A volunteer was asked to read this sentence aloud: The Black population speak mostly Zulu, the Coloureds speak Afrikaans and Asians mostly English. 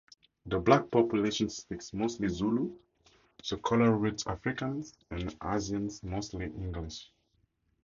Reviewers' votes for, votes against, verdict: 0, 2, rejected